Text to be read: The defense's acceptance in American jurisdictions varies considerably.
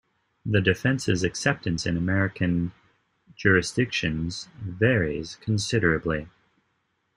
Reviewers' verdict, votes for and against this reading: accepted, 2, 0